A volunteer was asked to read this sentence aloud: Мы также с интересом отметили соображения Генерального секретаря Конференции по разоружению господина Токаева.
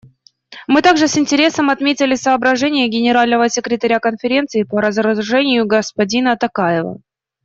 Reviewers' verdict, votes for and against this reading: rejected, 1, 2